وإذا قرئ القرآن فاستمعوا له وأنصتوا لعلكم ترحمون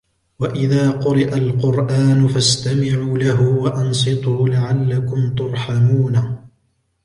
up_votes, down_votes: 2, 0